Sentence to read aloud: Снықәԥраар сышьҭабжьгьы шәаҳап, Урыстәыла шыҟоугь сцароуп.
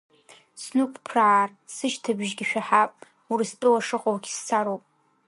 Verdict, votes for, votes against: rejected, 0, 2